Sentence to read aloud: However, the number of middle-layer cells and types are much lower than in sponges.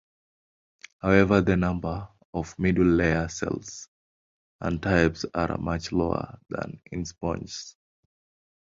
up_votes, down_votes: 1, 2